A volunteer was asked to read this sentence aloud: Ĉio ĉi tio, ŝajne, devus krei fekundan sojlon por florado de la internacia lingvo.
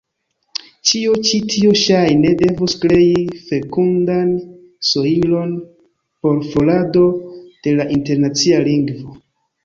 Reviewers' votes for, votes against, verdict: 0, 2, rejected